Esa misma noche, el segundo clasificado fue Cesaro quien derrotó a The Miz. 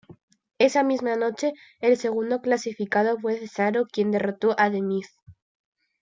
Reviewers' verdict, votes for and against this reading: rejected, 1, 2